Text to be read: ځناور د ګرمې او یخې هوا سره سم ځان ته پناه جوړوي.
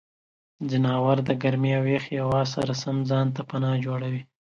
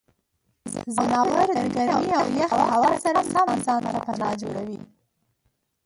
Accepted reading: first